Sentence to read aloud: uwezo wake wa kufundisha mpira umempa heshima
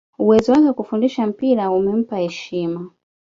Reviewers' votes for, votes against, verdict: 2, 0, accepted